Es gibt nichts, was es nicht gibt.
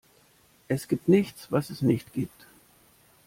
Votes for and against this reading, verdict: 2, 0, accepted